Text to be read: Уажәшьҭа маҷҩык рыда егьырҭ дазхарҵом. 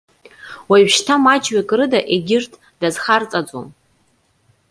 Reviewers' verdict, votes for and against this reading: rejected, 0, 2